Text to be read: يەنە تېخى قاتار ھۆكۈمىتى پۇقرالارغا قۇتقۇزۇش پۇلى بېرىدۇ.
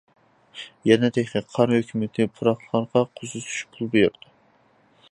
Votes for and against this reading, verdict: 0, 2, rejected